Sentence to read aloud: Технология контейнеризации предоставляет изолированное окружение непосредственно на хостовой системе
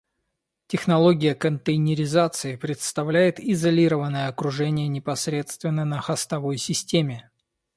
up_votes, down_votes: 1, 2